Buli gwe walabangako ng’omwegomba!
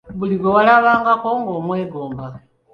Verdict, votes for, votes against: accepted, 2, 0